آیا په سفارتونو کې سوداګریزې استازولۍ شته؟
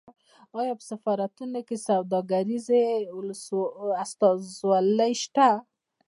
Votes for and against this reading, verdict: 1, 2, rejected